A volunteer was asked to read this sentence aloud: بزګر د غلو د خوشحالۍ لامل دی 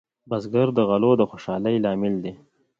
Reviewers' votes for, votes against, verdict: 2, 0, accepted